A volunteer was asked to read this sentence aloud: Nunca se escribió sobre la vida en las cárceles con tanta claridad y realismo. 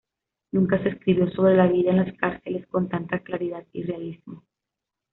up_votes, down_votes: 2, 0